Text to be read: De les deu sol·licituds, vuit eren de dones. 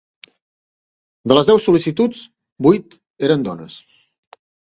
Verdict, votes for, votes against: rejected, 0, 2